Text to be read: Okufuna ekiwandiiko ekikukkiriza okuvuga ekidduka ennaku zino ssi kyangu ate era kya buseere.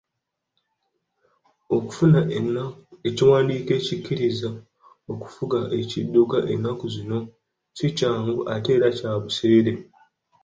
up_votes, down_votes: 1, 2